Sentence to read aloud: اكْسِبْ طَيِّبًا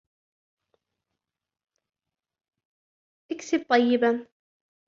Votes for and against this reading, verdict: 0, 2, rejected